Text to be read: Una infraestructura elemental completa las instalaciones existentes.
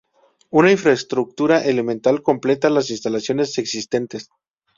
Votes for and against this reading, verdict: 2, 0, accepted